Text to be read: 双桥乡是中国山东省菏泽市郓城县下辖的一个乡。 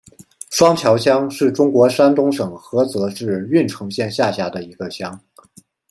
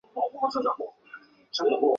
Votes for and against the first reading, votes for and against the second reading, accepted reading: 2, 0, 0, 3, first